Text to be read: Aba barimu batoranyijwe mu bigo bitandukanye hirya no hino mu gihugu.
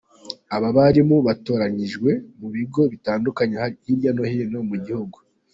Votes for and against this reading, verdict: 2, 0, accepted